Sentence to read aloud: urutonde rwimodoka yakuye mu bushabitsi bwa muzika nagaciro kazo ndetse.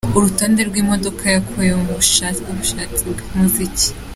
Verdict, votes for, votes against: rejected, 0, 2